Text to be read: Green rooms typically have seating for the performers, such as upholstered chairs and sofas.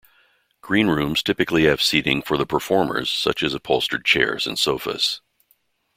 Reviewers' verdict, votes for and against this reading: accepted, 2, 0